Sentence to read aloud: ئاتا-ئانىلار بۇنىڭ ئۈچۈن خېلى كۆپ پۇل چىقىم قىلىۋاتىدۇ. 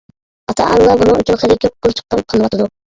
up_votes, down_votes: 0, 2